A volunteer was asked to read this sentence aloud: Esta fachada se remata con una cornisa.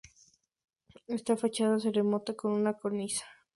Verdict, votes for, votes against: accepted, 2, 0